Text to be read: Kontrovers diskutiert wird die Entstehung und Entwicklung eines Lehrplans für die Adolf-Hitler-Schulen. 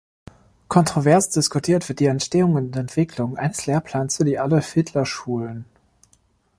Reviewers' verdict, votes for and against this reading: accepted, 2, 0